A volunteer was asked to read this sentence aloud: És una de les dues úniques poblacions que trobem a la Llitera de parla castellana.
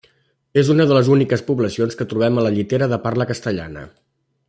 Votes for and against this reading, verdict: 1, 2, rejected